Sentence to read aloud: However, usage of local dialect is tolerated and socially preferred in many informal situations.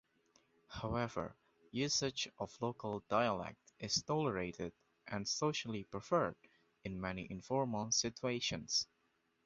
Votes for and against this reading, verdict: 2, 0, accepted